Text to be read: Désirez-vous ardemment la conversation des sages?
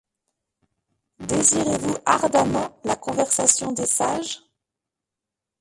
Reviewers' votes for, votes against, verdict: 1, 2, rejected